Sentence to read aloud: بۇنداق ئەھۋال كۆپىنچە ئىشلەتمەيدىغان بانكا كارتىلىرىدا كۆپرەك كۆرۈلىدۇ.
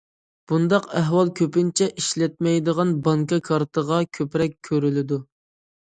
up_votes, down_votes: 0, 2